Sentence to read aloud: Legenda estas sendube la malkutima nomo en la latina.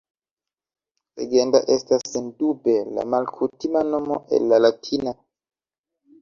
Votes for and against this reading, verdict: 2, 0, accepted